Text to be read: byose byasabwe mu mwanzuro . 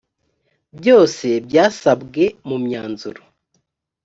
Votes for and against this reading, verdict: 2, 0, accepted